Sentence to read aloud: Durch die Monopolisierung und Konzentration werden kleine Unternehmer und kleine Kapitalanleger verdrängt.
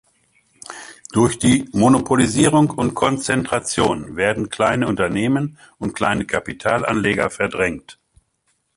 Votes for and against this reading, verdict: 0, 2, rejected